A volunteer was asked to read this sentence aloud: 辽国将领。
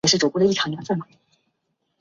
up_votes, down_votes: 1, 2